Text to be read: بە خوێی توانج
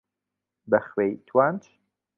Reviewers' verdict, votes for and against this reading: accepted, 2, 0